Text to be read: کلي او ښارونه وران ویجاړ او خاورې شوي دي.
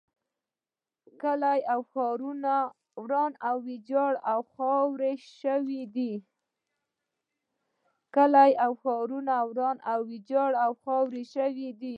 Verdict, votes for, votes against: rejected, 1, 2